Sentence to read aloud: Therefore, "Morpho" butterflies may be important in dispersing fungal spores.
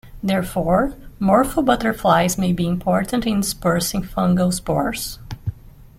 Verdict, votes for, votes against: rejected, 0, 2